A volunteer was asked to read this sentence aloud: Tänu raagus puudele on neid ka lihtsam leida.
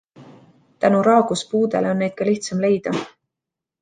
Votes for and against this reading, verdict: 2, 1, accepted